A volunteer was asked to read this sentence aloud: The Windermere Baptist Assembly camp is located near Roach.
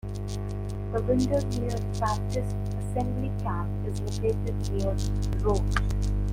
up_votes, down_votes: 0, 2